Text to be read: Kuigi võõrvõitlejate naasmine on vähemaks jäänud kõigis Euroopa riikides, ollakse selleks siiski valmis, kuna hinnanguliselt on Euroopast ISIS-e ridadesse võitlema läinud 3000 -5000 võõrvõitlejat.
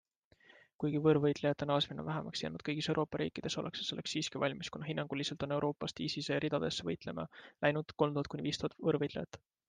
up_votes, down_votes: 0, 2